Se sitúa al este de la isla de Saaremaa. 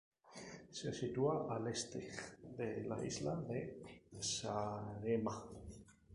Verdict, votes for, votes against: rejected, 2, 2